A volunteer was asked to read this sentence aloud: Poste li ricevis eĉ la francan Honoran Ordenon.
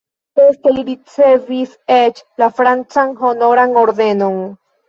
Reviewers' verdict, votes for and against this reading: accepted, 2, 1